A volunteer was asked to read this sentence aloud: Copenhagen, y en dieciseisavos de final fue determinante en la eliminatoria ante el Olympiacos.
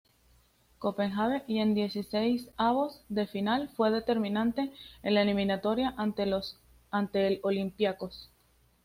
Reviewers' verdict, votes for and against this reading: accepted, 2, 0